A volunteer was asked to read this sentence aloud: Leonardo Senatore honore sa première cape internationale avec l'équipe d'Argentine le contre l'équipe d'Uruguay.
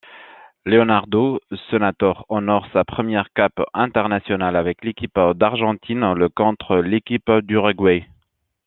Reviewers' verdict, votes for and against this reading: accepted, 2, 0